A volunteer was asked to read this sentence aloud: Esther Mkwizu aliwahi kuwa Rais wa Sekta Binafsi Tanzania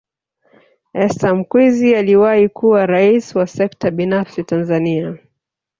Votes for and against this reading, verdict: 6, 0, accepted